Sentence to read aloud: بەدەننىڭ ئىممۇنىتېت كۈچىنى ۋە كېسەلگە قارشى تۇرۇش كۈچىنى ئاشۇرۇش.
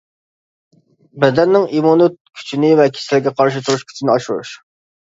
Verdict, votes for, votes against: rejected, 1, 2